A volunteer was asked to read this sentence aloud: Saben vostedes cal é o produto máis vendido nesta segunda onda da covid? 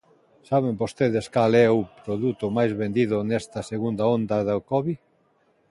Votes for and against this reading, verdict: 2, 0, accepted